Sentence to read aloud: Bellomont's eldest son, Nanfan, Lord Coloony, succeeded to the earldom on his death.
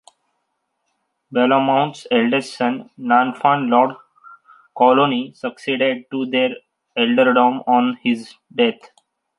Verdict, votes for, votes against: accepted, 3, 1